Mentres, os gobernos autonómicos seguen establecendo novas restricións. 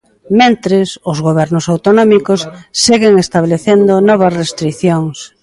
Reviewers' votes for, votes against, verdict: 2, 0, accepted